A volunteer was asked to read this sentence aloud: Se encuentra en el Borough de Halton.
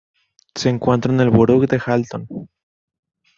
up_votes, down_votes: 0, 2